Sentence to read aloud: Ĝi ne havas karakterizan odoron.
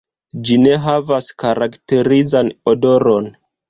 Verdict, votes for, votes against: rejected, 1, 2